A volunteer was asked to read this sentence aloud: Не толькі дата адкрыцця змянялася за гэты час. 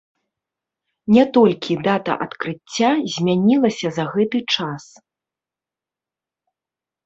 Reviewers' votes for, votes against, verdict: 1, 3, rejected